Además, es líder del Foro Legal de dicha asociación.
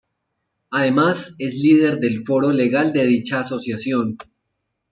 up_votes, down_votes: 2, 0